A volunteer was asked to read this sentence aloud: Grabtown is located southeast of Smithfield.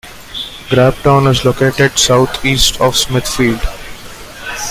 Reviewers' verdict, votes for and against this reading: accepted, 2, 0